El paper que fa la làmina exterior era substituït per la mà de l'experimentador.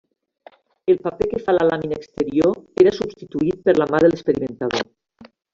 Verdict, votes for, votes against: accepted, 3, 1